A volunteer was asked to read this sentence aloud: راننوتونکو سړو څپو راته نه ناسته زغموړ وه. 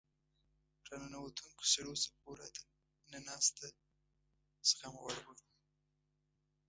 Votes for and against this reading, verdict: 1, 2, rejected